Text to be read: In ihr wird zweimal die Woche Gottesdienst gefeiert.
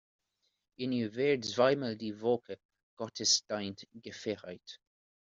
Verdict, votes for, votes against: rejected, 0, 2